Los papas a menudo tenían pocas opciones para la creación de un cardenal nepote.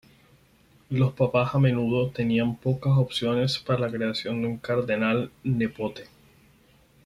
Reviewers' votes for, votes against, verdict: 0, 4, rejected